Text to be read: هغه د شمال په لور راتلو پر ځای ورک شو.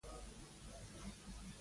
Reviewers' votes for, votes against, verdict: 1, 2, rejected